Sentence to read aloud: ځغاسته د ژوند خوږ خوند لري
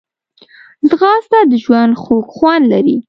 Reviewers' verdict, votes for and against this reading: accepted, 2, 0